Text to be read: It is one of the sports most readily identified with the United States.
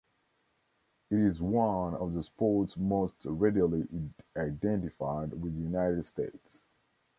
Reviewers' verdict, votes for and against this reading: rejected, 0, 2